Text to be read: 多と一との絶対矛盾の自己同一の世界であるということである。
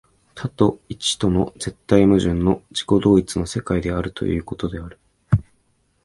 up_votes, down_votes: 2, 0